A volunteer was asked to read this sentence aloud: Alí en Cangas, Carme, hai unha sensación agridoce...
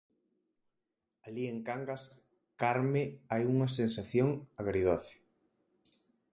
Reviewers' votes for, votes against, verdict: 4, 0, accepted